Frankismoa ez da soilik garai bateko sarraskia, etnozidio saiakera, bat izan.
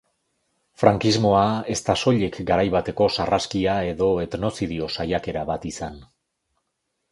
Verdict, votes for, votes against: rejected, 0, 2